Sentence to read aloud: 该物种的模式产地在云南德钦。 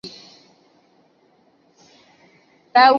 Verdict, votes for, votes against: rejected, 2, 6